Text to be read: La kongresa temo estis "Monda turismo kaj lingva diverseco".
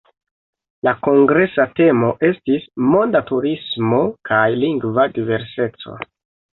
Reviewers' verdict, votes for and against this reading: rejected, 1, 2